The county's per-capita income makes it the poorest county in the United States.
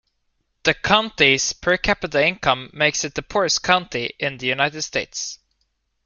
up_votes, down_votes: 2, 0